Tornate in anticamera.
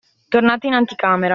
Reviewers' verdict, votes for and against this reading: accepted, 2, 0